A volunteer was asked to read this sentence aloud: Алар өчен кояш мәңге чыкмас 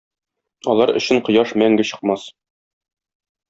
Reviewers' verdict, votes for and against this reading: accepted, 2, 0